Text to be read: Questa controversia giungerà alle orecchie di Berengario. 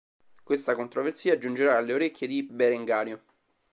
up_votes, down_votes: 1, 2